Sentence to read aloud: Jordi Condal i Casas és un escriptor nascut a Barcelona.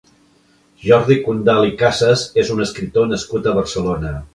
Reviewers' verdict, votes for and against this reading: accepted, 2, 0